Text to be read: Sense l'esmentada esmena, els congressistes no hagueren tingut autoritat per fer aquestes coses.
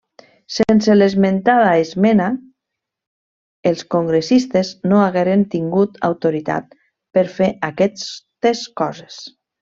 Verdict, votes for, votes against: rejected, 1, 2